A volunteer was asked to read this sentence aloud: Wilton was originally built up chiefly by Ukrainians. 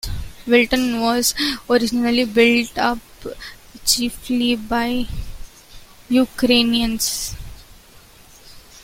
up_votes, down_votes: 2, 0